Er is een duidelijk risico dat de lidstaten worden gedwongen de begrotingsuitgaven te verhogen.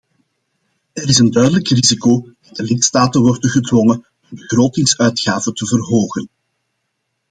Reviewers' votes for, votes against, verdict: 2, 0, accepted